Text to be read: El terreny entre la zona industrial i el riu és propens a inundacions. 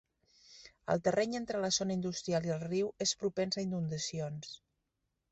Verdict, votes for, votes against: accepted, 3, 0